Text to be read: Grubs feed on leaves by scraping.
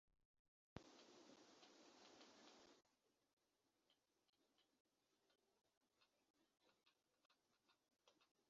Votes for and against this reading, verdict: 0, 2, rejected